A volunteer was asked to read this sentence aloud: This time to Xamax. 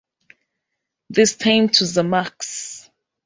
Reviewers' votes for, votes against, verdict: 1, 3, rejected